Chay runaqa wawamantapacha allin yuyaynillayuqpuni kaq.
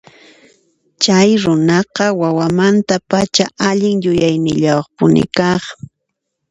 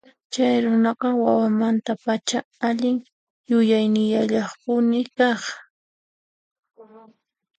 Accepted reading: first